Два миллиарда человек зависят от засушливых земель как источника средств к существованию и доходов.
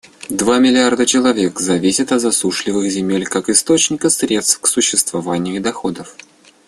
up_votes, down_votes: 2, 0